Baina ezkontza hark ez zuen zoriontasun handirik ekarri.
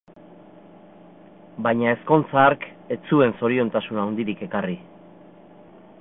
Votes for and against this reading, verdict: 1, 2, rejected